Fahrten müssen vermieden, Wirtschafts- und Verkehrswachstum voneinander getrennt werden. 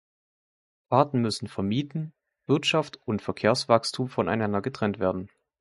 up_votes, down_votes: 1, 2